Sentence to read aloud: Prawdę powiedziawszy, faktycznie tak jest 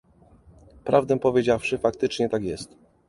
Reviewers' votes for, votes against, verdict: 2, 0, accepted